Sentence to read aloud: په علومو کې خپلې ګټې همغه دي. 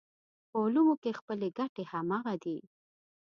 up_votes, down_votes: 2, 0